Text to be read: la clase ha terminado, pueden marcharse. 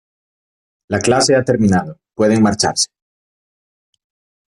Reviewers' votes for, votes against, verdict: 2, 0, accepted